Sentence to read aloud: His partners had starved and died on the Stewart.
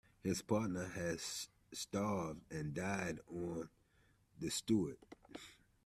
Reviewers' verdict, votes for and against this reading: rejected, 1, 2